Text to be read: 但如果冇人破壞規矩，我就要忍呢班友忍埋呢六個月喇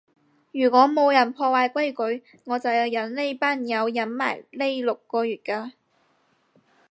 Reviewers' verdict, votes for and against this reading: rejected, 0, 4